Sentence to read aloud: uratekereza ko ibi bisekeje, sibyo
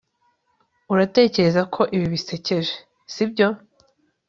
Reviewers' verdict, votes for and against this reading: accepted, 3, 0